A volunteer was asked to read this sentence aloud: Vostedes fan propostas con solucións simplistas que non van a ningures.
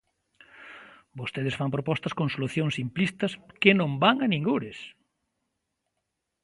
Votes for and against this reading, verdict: 2, 0, accepted